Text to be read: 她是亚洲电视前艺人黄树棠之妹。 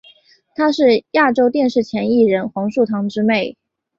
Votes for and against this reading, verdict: 4, 1, accepted